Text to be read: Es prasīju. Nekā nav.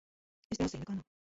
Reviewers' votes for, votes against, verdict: 0, 2, rejected